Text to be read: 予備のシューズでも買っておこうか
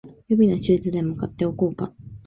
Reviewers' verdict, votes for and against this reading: accepted, 2, 0